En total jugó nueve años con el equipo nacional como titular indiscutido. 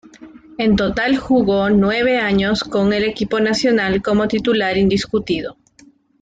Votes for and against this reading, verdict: 2, 0, accepted